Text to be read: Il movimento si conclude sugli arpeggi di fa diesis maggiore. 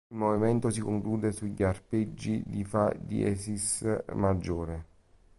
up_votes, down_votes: 1, 2